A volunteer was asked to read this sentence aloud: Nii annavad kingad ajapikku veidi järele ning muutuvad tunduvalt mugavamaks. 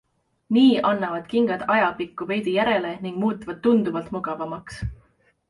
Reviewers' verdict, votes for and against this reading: accepted, 2, 0